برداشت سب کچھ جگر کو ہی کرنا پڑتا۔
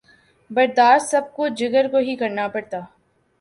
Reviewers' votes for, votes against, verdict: 2, 0, accepted